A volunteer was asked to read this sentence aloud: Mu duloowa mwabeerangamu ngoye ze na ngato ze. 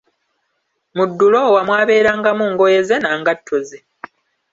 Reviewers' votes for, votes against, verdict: 2, 0, accepted